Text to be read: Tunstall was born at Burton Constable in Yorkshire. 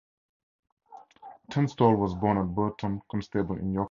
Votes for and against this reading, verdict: 2, 4, rejected